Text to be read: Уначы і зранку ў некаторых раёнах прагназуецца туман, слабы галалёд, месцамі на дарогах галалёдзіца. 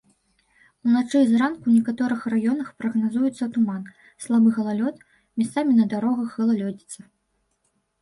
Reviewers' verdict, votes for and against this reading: rejected, 1, 2